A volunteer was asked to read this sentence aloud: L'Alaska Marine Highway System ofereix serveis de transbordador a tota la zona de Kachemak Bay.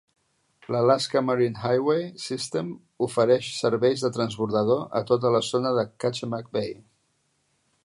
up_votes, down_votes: 3, 0